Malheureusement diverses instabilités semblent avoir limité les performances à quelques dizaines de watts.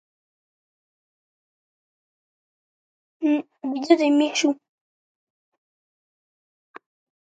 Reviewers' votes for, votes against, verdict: 0, 2, rejected